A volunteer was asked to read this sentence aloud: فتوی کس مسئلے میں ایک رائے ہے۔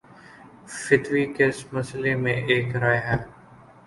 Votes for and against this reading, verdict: 1, 2, rejected